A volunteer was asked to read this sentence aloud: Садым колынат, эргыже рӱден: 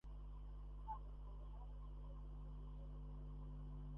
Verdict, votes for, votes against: rejected, 0, 2